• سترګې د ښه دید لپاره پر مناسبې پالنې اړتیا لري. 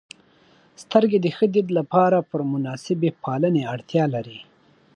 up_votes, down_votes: 2, 0